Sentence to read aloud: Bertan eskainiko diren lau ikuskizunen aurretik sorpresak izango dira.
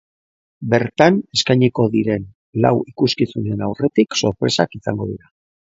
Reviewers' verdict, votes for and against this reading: accepted, 3, 0